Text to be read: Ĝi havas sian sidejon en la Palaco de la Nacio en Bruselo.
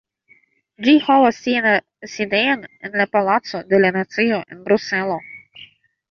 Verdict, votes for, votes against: rejected, 0, 2